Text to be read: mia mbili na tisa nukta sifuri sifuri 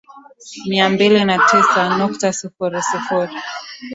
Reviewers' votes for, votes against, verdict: 5, 0, accepted